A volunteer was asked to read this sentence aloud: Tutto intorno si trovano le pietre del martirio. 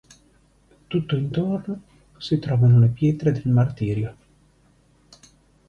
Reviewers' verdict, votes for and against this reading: accepted, 3, 1